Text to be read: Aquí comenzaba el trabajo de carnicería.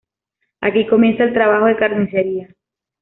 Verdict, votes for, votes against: rejected, 0, 2